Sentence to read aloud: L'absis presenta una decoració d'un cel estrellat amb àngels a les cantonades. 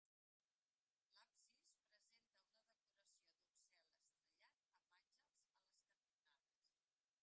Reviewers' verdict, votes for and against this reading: rejected, 0, 2